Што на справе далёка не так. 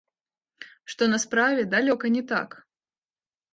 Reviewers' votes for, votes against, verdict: 2, 0, accepted